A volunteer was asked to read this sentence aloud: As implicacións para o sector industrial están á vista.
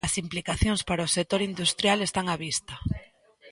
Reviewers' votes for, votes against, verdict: 1, 2, rejected